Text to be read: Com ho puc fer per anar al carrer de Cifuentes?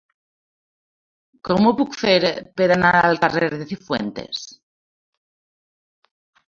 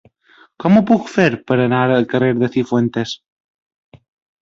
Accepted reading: second